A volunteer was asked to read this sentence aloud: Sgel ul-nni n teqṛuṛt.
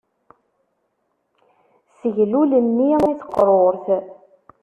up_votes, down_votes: 0, 2